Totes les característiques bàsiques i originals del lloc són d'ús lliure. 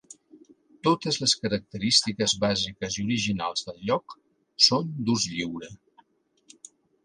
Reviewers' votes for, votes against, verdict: 4, 0, accepted